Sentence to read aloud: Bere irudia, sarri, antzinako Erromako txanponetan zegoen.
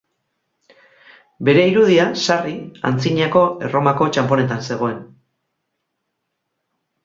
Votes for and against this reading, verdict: 4, 0, accepted